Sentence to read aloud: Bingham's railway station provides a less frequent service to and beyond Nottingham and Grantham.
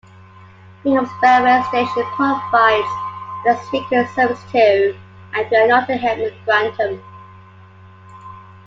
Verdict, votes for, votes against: rejected, 1, 2